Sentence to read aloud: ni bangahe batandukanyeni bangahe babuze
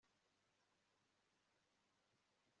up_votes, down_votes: 0, 2